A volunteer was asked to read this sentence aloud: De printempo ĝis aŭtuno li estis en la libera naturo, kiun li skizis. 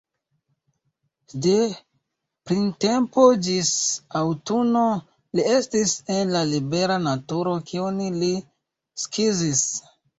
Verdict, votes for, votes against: accepted, 2, 0